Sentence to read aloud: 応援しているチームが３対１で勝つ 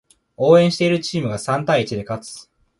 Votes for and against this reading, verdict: 0, 2, rejected